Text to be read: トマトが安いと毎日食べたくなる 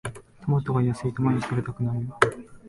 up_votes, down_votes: 2, 0